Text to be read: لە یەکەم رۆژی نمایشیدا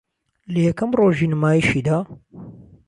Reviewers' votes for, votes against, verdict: 2, 0, accepted